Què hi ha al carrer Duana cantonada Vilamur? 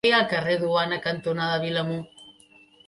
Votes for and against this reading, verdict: 1, 2, rejected